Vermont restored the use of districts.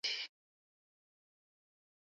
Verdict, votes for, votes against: rejected, 0, 2